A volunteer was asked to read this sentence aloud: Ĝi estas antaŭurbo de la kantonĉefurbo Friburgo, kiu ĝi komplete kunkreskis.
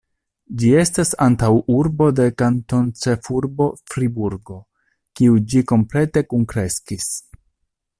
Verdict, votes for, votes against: rejected, 1, 2